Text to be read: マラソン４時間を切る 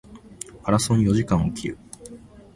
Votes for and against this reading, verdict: 0, 2, rejected